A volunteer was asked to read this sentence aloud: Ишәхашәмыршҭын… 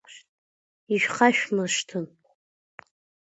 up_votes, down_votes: 2, 0